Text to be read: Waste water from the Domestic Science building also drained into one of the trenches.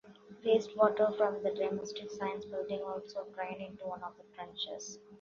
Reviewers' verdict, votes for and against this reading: accepted, 2, 0